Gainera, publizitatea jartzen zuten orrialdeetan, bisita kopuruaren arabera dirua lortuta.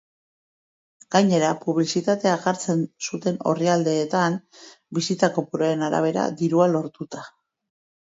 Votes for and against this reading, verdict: 0, 2, rejected